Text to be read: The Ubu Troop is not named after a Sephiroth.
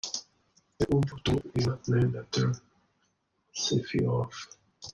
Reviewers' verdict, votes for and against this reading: rejected, 0, 2